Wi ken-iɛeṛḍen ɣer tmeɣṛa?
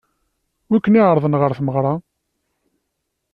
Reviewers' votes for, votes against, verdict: 2, 0, accepted